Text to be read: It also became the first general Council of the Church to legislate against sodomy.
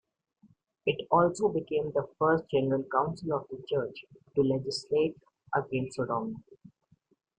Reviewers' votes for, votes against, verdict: 2, 0, accepted